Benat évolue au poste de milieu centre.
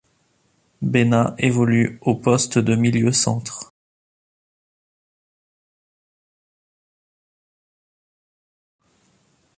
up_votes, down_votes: 1, 2